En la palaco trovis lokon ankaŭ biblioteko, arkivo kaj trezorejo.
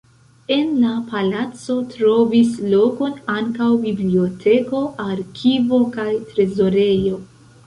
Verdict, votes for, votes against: rejected, 0, 2